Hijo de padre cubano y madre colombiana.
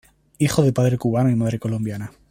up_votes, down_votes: 2, 0